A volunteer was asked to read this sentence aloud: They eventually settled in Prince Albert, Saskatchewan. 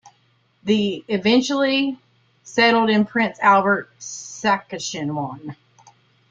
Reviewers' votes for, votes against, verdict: 2, 1, accepted